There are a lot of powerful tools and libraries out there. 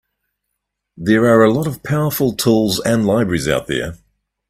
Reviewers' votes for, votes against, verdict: 2, 1, accepted